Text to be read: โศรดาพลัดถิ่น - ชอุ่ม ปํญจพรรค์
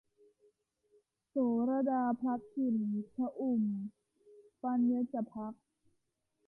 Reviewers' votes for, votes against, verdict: 0, 2, rejected